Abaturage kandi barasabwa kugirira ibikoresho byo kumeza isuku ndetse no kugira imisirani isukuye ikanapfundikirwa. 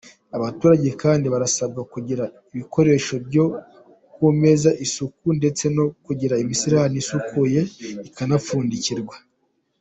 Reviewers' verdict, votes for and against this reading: accepted, 2, 0